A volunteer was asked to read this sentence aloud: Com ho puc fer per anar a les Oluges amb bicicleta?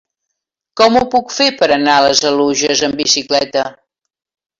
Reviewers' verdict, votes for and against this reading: accepted, 2, 0